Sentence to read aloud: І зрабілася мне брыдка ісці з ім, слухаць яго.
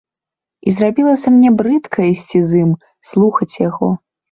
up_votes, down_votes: 2, 0